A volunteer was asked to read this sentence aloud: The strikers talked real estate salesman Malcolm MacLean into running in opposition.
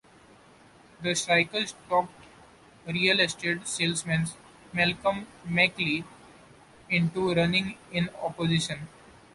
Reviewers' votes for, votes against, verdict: 0, 2, rejected